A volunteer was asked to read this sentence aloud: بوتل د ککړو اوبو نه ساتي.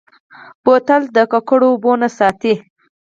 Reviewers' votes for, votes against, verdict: 2, 4, rejected